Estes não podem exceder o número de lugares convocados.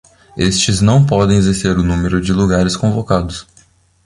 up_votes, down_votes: 1, 2